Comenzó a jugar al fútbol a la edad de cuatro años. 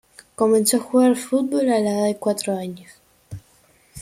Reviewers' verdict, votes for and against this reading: accepted, 2, 0